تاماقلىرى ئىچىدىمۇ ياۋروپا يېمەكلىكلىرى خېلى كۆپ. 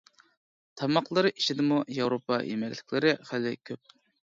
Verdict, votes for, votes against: accepted, 2, 0